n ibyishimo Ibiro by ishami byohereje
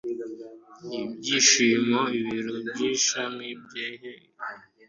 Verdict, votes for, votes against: rejected, 0, 2